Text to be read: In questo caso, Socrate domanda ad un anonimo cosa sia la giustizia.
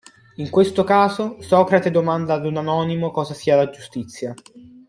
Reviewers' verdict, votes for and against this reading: accepted, 2, 1